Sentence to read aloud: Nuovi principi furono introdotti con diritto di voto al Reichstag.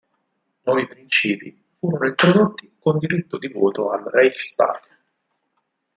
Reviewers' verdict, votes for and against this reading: rejected, 2, 4